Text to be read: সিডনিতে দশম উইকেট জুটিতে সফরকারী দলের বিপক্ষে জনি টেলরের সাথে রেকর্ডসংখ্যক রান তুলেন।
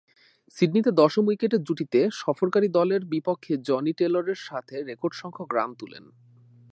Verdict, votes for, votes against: accepted, 2, 0